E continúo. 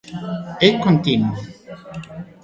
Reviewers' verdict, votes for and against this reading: rejected, 0, 2